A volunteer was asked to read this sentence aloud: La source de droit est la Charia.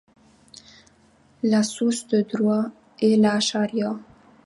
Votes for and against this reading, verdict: 2, 0, accepted